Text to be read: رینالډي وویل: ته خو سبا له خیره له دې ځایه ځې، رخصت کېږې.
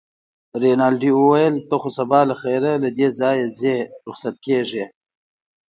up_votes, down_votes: 2, 0